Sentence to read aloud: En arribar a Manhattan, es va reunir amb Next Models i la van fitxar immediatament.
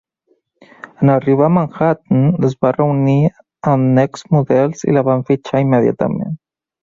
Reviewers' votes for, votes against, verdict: 3, 2, accepted